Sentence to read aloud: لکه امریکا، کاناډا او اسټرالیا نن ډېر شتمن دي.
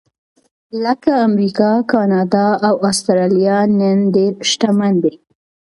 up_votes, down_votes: 2, 0